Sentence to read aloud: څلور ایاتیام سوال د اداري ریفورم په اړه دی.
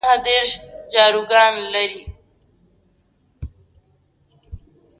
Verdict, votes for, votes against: rejected, 0, 2